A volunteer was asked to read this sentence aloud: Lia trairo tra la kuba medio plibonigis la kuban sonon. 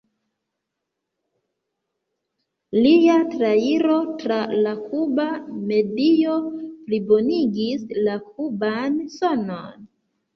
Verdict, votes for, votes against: accepted, 2, 1